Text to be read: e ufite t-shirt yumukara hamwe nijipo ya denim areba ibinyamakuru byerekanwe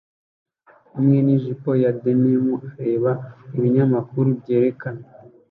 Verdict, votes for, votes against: rejected, 0, 2